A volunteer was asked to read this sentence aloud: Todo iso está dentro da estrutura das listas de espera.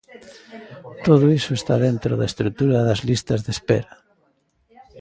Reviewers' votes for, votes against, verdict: 1, 2, rejected